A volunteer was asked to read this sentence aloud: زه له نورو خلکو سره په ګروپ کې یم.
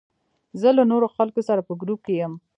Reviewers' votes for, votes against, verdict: 2, 0, accepted